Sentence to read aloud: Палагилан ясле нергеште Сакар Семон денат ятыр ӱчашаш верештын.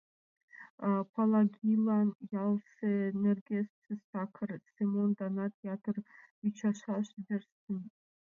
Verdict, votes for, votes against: rejected, 1, 2